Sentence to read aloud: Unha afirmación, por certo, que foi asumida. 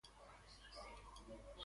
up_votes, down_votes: 0, 2